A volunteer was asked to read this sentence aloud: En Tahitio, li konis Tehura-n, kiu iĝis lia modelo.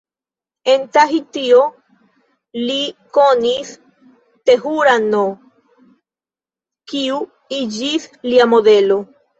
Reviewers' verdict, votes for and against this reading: rejected, 1, 2